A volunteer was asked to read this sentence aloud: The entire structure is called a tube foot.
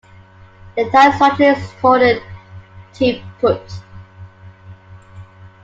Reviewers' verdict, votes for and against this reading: rejected, 0, 2